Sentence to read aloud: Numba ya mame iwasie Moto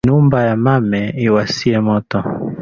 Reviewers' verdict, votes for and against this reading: accepted, 2, 0